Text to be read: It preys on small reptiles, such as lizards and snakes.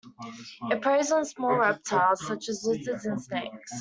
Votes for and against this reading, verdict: 2, 1, accepted